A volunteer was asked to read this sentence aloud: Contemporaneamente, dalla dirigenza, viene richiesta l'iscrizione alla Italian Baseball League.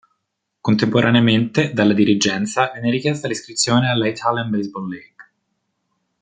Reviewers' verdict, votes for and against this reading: accepted, 2, 0